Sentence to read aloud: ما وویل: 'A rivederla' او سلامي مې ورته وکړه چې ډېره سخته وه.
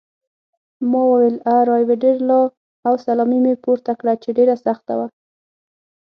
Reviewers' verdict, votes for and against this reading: rejected, 3, 6